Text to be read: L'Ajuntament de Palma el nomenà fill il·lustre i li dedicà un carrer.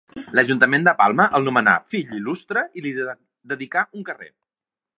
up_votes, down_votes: 0, 2